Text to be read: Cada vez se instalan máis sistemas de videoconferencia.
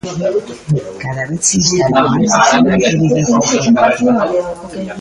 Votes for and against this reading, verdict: 0, 2, rejected